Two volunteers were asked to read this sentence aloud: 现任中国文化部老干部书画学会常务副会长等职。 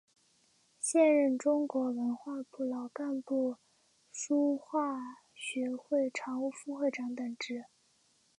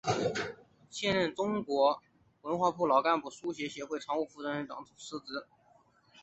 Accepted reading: first